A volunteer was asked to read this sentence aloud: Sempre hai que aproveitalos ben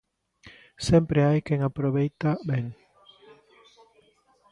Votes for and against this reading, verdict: 0, 2, rejected